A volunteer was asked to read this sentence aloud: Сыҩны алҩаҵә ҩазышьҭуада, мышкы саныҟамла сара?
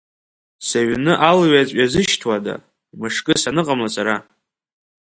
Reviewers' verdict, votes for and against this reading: accepted, 2, 0